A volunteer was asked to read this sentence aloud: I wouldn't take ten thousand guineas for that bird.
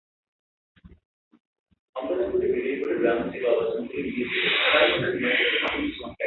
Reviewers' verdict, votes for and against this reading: rejected, 0, 2